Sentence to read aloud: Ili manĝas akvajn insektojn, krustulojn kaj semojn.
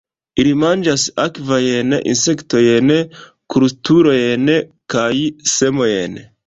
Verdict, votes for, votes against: rejected, 1, 2